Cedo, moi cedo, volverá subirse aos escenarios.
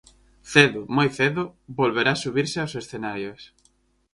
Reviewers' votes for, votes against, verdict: 4, 0, accepted